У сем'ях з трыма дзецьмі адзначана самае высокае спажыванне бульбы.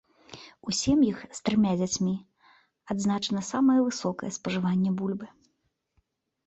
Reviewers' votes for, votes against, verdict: 0, 2, rejected